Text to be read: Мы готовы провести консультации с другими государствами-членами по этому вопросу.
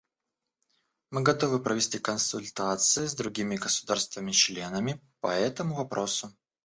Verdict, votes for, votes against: accepted, 2, 0